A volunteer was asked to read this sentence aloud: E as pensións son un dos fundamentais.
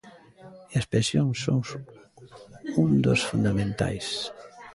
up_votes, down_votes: 0, 2